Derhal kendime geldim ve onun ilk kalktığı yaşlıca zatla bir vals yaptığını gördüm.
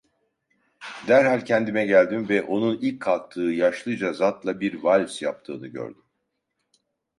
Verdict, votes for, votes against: accepted, 2, 0